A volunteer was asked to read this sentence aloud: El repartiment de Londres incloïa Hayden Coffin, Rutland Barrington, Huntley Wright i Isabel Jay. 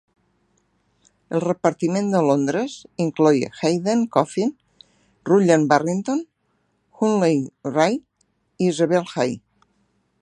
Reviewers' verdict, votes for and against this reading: accepted, 2, 1